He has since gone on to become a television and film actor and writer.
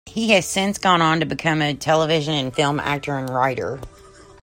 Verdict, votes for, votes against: accepted, 2, 0